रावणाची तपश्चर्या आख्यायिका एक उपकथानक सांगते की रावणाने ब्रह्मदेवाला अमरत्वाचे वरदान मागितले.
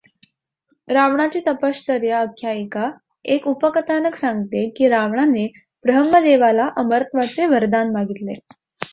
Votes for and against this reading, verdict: 2, 0, accepted